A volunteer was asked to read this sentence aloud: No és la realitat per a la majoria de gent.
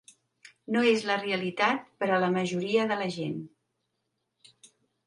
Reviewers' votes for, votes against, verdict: 1, 2, rejected